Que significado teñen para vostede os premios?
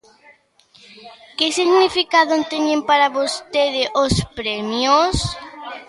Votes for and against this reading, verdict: 2, 1, accepted